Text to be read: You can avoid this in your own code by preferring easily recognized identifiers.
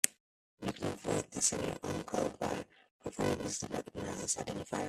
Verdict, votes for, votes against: rejected, 0, 2